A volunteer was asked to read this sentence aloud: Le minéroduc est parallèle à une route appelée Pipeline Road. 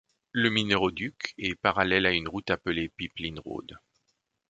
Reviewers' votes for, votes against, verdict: 2, 0, accepted